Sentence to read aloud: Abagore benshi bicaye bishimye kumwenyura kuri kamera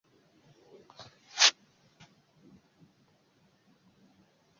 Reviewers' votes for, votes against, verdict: 0, 2, rejected